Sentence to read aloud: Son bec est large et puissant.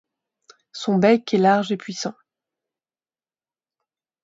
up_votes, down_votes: 2, 0